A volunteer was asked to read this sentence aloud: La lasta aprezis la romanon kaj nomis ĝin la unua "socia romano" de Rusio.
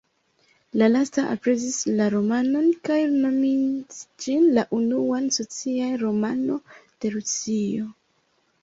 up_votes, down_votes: 0, 2